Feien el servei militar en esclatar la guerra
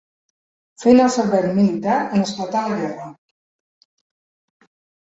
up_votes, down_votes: 1, 2